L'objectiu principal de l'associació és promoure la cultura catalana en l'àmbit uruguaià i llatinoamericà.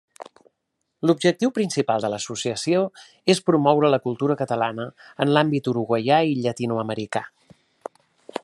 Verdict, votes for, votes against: accepted, 3, 0